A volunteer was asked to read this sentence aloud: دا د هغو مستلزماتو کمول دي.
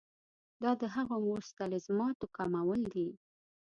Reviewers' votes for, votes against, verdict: 2, 0, accepted